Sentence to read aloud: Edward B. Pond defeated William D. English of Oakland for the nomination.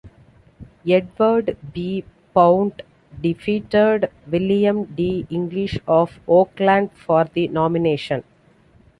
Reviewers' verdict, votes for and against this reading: rejected, 1, 2